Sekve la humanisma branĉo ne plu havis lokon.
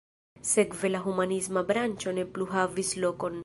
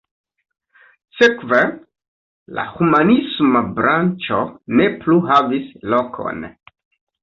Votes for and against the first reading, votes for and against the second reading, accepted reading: 1, 2, 2, 0, second